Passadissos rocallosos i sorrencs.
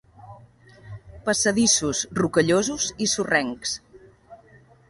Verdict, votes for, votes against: accepted, 3, 0